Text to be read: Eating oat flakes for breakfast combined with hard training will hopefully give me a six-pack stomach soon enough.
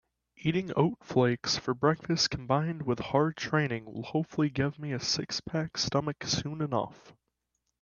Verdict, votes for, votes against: accepted, 2, 0